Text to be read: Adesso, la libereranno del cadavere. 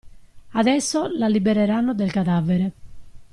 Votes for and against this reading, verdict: 2, 0, accepted